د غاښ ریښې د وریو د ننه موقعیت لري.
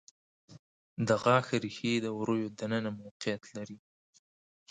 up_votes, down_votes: 7, 0